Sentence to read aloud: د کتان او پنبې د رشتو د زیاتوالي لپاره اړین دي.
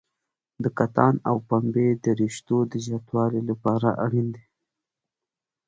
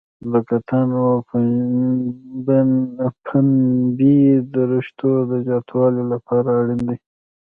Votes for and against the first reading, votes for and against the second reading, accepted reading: 2, 0, 0, 2, first